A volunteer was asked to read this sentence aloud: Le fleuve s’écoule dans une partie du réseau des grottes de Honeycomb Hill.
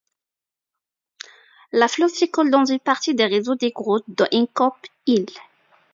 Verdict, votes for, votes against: accepted, 2, 1